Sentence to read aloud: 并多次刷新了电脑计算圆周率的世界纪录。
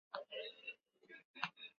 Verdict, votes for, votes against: rejected, 0, 2